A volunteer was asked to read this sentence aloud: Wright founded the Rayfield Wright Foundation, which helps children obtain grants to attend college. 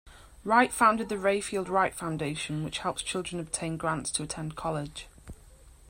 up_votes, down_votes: 2, 0